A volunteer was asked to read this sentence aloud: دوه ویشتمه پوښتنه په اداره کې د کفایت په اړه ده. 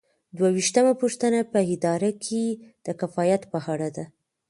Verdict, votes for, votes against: accepted, 2, 1